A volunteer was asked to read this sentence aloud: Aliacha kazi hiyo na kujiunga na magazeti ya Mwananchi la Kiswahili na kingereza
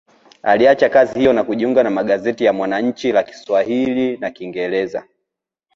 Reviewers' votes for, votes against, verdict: 0, 2, rejected